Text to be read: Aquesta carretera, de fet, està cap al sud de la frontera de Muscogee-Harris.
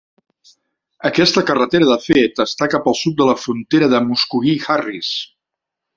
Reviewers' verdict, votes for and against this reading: accepted, 2, 0